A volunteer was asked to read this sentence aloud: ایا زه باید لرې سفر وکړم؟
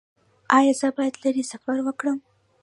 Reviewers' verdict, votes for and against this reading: rejected, 1, 2